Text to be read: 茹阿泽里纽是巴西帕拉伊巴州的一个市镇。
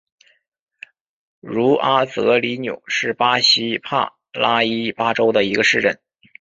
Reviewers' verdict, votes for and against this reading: accepted, 2, 0